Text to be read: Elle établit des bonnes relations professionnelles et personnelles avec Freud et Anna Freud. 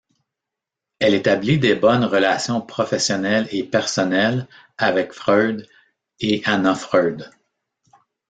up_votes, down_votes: 1, 2